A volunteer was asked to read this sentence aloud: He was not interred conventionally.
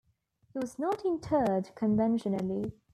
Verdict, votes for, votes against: accepted, 2, 0